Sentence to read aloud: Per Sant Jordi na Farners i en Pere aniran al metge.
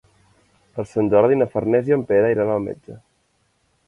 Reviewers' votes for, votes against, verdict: 1, 2, rejected